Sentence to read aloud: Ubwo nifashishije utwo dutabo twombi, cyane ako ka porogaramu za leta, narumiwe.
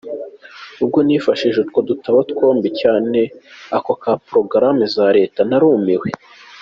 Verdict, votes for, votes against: accepted, 2, 0